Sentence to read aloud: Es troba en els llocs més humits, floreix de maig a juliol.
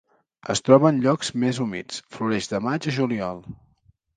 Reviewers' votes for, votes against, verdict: 0, 3, rejected